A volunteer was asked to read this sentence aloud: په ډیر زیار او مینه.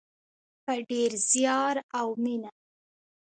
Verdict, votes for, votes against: accepted, 2, 0